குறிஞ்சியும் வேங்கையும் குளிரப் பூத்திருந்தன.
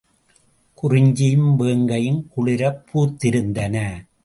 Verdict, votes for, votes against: accepted, 2, 0